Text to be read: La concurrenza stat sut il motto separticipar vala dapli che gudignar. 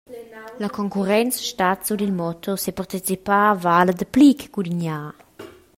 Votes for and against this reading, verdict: 2, 0, accepted